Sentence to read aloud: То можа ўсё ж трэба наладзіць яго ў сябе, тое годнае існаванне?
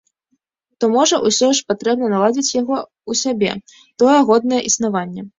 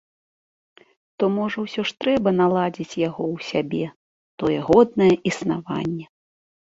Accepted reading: second